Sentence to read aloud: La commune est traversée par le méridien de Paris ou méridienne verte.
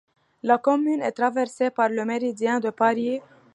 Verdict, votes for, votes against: rejected, 0, 2